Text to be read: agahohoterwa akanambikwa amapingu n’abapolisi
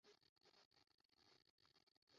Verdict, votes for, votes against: rejected, 0, 2